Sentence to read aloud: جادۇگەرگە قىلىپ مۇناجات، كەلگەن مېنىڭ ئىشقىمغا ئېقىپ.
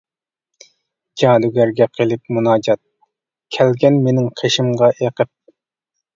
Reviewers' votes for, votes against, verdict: 0, 2, rejected